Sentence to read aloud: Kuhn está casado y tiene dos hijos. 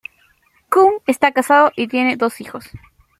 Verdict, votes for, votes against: accepted, 2, 0